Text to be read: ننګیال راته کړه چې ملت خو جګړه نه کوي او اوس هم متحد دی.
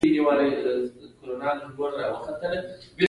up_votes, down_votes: 1, 2